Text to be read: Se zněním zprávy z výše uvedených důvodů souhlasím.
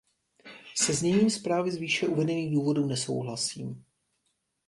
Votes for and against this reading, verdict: 0, 2, rejected